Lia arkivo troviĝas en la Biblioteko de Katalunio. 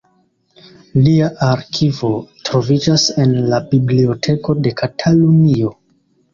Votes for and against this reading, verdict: 1, 2, rejected